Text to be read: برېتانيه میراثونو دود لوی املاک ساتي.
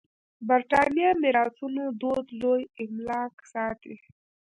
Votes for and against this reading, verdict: 0, 2, rejected